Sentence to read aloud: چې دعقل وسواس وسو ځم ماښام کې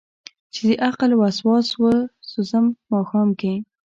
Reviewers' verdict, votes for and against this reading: rejected, 0, 2